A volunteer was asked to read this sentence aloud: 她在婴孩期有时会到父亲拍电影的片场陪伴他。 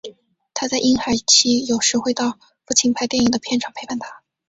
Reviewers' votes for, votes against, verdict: 2, 0, accepted